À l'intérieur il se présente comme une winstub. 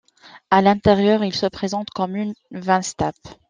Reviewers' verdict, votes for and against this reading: accepted, 2, 1